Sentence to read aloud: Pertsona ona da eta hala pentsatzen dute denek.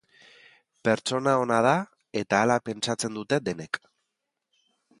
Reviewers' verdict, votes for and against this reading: accepted, 2, 0